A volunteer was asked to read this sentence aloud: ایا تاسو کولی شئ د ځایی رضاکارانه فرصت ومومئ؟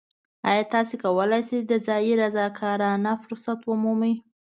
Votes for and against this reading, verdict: 2, 0, accepted